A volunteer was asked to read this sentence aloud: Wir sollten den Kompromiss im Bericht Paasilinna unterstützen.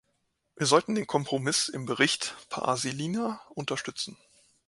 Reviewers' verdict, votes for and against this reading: accepted, 2, 0